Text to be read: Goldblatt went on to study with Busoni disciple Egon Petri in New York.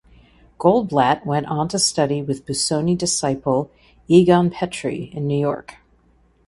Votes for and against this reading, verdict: 2, 0, accepted